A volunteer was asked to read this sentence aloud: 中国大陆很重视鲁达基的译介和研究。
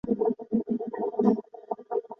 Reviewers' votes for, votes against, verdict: 0, 2, rejected